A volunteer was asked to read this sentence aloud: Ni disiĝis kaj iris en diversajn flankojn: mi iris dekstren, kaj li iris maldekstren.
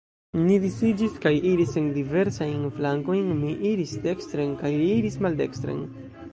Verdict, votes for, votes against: rejected, 1, 2